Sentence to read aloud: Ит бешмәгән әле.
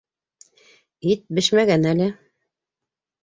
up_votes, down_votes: 2, 0